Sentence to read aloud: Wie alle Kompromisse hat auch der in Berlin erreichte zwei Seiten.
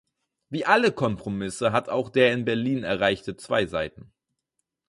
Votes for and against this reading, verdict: 4, 0, accepted